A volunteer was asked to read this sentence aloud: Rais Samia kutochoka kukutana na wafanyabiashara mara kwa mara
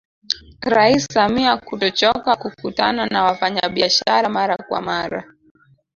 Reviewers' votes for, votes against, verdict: 1, 2, rejected